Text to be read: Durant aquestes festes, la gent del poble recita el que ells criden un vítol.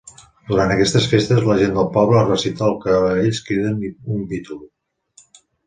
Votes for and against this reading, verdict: 1, 2, rejected